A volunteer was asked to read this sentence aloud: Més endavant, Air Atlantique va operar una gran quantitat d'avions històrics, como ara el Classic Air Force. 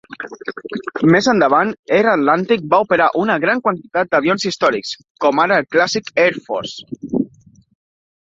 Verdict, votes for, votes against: accepted, 2, 0